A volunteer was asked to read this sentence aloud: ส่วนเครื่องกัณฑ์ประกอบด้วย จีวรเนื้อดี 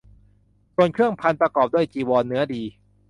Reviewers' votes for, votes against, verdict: 1, 2, rejected